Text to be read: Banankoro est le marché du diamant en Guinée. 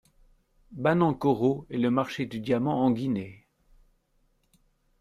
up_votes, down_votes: 2, 0